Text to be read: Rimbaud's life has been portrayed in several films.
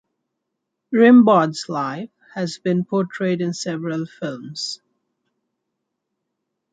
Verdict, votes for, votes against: accepted, 2, 1